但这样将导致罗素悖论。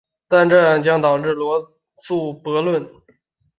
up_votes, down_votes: 0, 2